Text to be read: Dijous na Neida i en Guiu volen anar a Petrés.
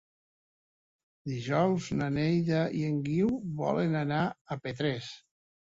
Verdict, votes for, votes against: accepted, 3, 0